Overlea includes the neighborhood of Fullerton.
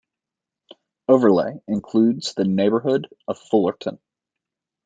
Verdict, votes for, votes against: accepted, 2, 0